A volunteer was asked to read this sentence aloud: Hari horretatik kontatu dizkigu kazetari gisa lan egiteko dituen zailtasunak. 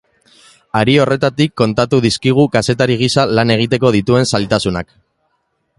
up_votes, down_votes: 3, 0